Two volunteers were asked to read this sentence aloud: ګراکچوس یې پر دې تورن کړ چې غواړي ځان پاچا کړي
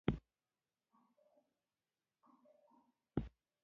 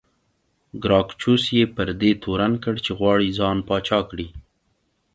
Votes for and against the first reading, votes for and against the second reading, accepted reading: 0, 2, 2, 0, second